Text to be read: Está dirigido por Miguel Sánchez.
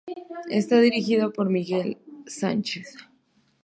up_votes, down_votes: 2, 0